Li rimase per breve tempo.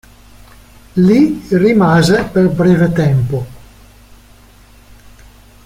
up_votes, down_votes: 1, 2